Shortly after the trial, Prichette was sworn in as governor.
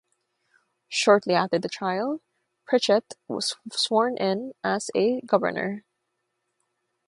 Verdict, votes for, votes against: rejected, 0, 3